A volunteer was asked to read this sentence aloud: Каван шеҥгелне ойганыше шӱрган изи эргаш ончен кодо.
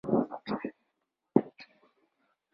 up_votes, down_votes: 0, 2